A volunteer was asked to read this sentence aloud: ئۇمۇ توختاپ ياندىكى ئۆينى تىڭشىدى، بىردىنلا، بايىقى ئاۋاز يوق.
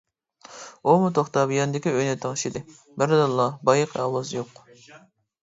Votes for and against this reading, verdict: 1, 2, rejected